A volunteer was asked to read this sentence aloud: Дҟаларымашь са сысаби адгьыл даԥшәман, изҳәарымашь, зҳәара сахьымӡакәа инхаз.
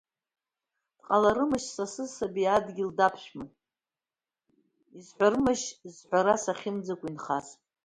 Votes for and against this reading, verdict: 1, 2, rejected